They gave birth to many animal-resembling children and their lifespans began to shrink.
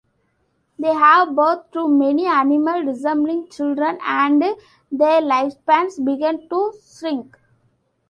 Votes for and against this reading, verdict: 0, 2, rejected